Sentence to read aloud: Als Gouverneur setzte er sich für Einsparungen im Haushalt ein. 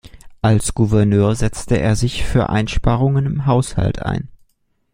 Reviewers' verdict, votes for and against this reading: accepted, 2, 0